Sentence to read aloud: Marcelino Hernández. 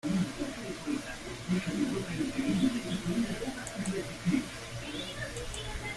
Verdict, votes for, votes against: rejected, 0, 2